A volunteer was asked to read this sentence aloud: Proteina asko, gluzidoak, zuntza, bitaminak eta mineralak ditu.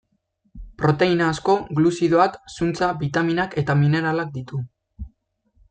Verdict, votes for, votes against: accepted, 2, 0